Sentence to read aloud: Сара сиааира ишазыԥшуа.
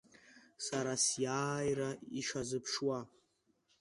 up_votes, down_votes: 2, 0